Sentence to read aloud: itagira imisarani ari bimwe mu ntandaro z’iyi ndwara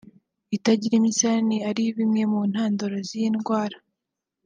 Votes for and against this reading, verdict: 3, 0, accepted